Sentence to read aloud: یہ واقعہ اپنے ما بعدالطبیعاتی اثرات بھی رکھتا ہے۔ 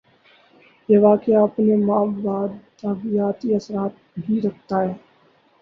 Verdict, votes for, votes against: rejected, 2, 6